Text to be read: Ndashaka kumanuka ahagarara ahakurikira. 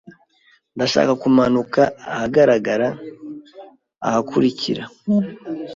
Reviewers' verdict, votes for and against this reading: rejected, 1, 2